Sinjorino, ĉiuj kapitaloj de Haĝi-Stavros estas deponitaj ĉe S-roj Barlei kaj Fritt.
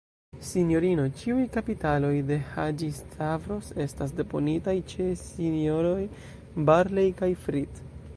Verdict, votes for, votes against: accepted, 2, 1